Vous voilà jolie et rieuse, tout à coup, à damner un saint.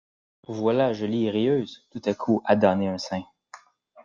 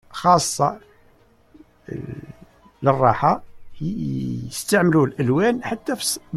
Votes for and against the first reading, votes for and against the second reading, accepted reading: 2, 0, 0, 2, first